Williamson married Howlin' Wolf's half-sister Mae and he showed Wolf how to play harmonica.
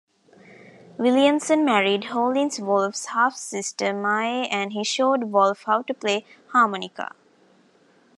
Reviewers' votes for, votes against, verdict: 1, 2, rejected